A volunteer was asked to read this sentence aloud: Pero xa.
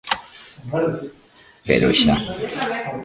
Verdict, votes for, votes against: rejected, 0, 2